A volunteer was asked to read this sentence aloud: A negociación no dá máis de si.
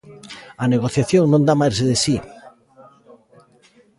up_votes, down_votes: 1, 2